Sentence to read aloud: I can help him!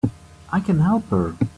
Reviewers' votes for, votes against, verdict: 0, 2, rejected